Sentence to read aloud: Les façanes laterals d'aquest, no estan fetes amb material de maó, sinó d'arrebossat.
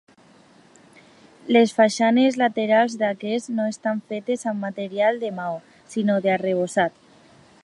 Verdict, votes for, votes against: accepted, 2, 0